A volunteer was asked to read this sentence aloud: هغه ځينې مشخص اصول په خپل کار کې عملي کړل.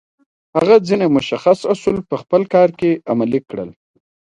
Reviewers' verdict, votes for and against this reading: accepted, 2, 0